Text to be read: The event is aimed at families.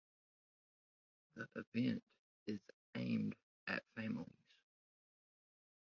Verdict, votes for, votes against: accepted, 2, 1